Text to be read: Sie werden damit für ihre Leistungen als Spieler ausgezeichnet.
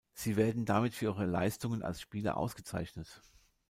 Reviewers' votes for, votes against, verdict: 2, 0, accepted